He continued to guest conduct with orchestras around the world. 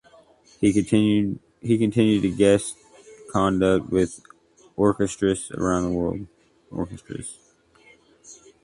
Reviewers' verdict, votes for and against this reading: rejected, 0, 2